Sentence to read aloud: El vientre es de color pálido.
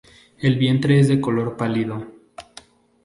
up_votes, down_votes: 2, 0